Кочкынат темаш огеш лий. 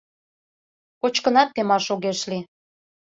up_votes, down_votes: 2, 0